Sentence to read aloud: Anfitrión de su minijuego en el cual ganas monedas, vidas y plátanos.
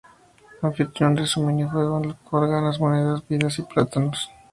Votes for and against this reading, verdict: 0, 2, rejected